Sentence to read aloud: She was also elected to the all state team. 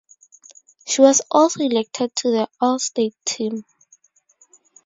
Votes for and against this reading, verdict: 4, 2, accepted